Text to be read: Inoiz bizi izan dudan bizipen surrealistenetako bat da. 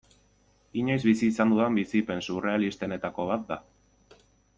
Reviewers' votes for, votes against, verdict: 1, 2, rejected